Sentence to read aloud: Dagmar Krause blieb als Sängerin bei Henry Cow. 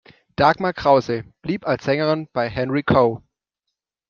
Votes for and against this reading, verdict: 2, 0, accepted